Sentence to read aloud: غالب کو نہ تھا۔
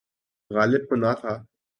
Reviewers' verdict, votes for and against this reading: accepted, 2, 0